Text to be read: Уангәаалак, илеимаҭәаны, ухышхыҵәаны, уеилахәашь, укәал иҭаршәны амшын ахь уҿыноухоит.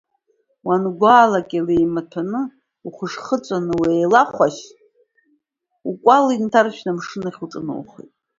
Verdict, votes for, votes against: accepted, 2, 1